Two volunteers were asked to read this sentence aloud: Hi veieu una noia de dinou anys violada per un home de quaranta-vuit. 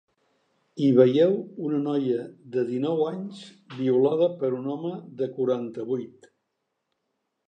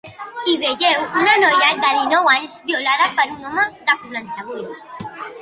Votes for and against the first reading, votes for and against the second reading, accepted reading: 3, 0, 1, 2, first